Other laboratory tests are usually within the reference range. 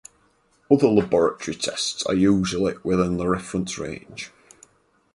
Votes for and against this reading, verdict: 0, 4, rejected